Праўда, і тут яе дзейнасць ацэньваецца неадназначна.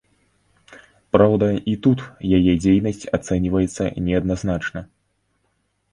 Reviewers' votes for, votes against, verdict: 2, 0, accepted